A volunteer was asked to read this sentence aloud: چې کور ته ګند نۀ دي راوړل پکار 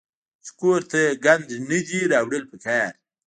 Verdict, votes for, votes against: accepted, 2, 0